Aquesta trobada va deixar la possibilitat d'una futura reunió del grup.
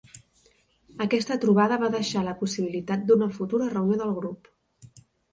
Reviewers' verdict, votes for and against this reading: accepted, 6, 0